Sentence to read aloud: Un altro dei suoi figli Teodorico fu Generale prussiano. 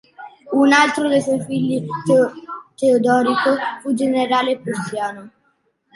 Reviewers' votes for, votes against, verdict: 0, 2, rejected